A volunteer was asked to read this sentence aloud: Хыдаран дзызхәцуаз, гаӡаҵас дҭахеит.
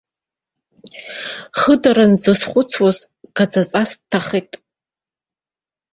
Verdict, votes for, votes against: accepted, 2, 1